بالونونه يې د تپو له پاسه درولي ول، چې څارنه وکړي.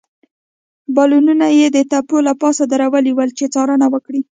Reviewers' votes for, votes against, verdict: 2, 0, accepted